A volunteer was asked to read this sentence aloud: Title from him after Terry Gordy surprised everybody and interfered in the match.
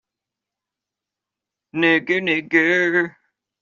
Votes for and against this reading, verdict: 0, 2, rejected